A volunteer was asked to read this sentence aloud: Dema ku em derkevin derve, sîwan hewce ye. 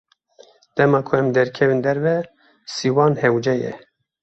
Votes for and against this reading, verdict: 2, 0, accepted